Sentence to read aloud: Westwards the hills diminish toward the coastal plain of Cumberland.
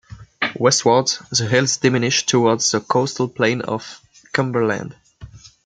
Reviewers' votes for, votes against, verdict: 2, 1, accepted